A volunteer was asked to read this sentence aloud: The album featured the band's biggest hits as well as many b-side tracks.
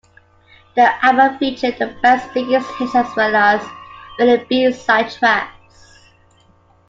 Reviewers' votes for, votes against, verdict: 0, 2, rejected